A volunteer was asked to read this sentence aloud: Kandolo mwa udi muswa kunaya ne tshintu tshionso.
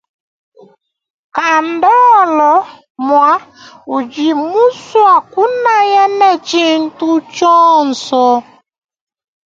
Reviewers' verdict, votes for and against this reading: rejected, 1, 2